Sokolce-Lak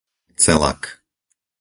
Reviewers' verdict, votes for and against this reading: rejected, 0, 4